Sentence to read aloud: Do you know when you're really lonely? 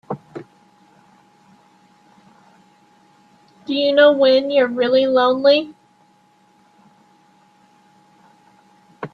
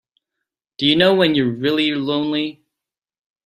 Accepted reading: second